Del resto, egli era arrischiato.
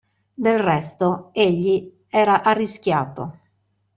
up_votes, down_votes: 2, 0